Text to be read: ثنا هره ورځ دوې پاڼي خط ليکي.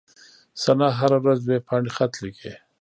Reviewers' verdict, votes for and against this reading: rejected, 1, 2